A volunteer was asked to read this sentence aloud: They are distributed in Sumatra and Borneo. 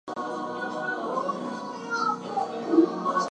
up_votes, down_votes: 0, 2